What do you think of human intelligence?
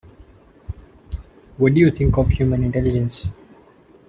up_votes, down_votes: 2, 0